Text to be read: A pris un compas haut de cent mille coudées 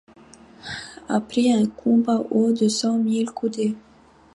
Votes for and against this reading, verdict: 2, 0, accepted